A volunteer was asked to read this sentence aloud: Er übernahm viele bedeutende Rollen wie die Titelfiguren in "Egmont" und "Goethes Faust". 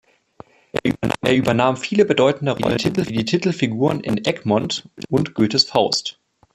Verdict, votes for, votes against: rejected, 0, 2